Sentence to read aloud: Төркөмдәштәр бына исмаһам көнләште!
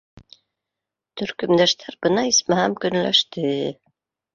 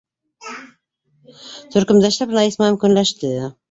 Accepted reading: first